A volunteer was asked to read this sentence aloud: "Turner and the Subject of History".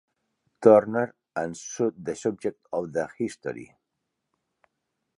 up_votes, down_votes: 2, 3